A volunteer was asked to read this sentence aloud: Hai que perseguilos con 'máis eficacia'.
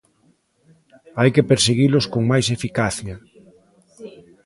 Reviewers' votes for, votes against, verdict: 2, 1, accepted